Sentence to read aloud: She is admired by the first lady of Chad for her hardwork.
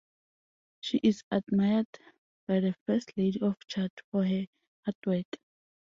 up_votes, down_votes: 2, 0